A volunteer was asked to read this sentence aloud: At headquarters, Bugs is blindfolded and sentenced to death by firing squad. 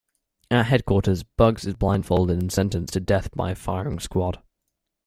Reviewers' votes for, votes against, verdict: 2, 0, accepted